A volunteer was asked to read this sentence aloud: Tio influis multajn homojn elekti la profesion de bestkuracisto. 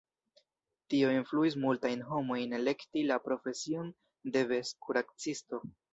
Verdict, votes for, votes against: accepted, 2, 0